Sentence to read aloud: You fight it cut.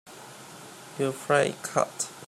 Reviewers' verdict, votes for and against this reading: rejected, 0, 2